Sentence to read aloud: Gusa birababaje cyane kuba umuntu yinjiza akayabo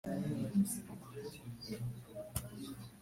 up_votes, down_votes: 0, 3